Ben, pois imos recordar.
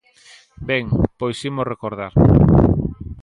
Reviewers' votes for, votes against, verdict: 1, 2, rejected